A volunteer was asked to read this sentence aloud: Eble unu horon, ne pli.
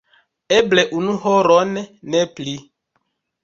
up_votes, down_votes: 2, 0